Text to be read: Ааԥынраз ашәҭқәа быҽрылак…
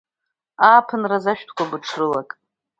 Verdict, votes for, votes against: accepted, 2, 0